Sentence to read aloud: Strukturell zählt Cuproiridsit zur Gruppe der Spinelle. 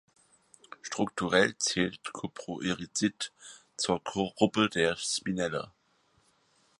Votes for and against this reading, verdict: 2, 4, rejected